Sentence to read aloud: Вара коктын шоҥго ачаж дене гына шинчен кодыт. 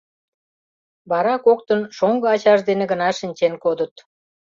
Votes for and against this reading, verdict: 3, 0, accepted